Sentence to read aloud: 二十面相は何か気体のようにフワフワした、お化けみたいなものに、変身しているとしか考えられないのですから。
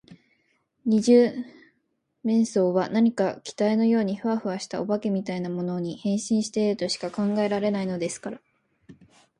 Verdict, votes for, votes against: accepted, 2, 0